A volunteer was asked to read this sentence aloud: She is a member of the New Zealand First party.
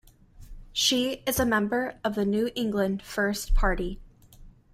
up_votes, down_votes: 1, 2